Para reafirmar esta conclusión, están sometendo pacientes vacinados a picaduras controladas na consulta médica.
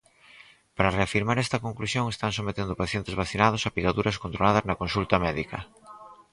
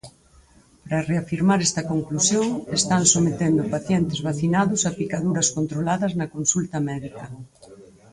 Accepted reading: first